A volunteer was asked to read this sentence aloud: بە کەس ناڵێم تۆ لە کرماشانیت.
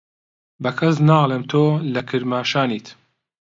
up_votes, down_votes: 2, 0